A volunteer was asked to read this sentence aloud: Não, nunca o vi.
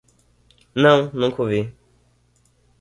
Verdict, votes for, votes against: accepted, 2, 0